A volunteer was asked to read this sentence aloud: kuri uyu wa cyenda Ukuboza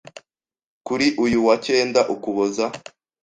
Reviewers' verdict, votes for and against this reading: accepted, 2, 0